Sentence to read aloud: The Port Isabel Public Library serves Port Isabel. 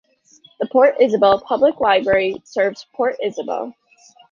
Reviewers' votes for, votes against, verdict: 3, 0, accepted